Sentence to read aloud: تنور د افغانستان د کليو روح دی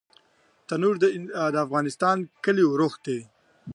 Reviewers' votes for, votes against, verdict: 1, 2, rejected